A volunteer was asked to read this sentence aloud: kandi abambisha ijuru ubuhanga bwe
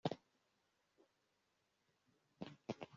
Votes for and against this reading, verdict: 0, 2, rejected